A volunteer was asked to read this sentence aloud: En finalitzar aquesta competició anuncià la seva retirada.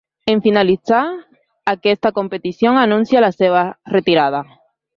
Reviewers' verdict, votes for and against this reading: accepted, 2, 0